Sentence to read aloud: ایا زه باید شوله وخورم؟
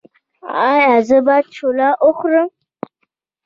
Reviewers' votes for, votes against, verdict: 2, 0, accepted